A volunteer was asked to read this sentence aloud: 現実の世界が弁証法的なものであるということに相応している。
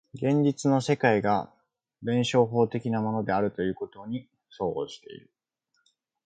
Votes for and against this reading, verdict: 3, 0, accepted